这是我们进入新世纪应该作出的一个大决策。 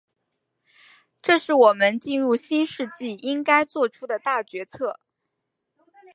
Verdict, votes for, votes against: rejected, 3, 3